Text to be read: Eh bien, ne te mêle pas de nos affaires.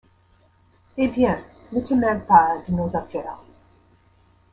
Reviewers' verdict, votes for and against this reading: rejected, 1, 2